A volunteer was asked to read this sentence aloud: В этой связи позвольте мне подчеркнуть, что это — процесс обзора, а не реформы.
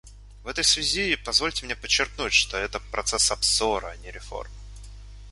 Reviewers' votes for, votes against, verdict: 1, 2, rejected